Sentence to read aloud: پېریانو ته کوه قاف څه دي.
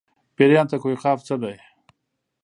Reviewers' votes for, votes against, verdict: 2, 0, accepted